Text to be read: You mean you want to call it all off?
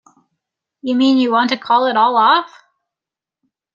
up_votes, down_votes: 2, 0